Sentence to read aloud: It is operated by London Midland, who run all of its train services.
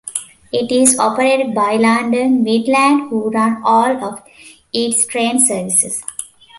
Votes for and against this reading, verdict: 2, 0, accepted